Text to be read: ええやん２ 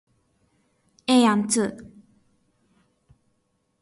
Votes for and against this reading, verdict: 0, 2, rejected